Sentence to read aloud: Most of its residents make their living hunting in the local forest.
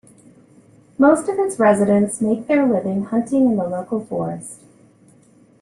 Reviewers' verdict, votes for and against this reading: accepted, 2, 1